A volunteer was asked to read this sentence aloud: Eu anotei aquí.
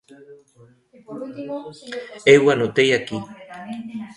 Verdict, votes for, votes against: rejected, 0, 2